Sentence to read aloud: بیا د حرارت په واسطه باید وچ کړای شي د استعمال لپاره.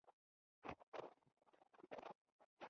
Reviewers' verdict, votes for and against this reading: rejected, 1, 2